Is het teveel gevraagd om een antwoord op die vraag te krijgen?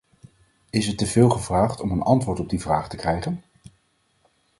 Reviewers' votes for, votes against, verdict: 4, 0, accepted